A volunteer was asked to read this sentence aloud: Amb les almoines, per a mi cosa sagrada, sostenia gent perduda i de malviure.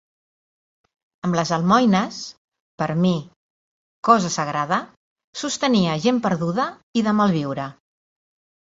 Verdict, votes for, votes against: accepted, 2, 1